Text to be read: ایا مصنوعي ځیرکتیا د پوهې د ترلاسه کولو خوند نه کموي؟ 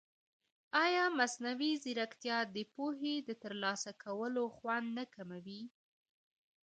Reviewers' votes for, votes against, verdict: 1, 2, rejected